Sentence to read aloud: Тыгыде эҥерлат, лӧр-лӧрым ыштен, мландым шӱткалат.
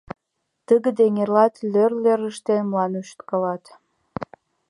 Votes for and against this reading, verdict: 2, 0, accepted